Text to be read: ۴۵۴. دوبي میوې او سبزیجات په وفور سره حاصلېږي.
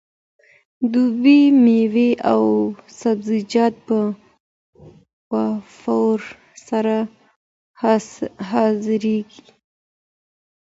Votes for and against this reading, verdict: 0, 2, rejected